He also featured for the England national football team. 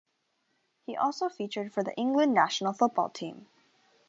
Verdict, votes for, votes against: accepted, 2, 1